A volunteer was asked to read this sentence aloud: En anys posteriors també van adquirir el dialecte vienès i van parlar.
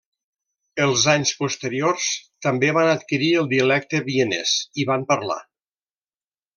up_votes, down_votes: 0, 2